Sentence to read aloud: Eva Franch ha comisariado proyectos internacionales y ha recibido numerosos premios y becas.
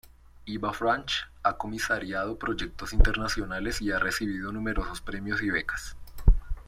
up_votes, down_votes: 0, 2